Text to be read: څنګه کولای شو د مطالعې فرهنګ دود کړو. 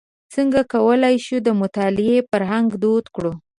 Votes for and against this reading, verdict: 2, 0, accepted